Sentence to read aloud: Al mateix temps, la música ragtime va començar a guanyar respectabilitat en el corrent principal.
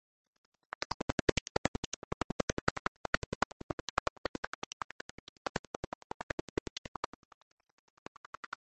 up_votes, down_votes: 0, 3